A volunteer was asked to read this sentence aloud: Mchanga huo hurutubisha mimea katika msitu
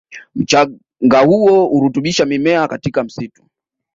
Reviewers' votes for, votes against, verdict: 2, 1, accepted